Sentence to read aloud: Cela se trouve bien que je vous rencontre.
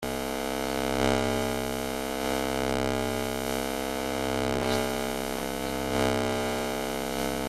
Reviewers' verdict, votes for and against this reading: rejected, 0, 2